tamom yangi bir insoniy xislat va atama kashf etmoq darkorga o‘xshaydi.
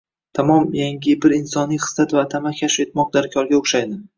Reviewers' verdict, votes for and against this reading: rejected, 1, 2